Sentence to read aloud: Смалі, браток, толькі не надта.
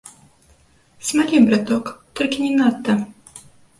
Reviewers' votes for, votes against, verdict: 1, 2, rejected